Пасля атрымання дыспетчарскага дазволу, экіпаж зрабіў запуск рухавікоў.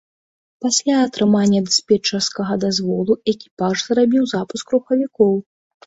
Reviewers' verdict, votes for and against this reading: accepted, 2, 0